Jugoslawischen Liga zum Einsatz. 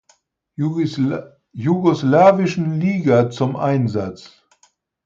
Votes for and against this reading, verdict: 0, 4, rejected